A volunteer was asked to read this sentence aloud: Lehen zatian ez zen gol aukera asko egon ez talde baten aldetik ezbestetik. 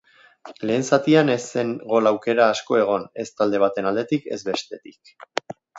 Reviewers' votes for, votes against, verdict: 2, 1, accepted